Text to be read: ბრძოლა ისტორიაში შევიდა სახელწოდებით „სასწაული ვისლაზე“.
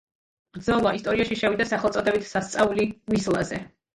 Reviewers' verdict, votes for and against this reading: accepted, 2, 0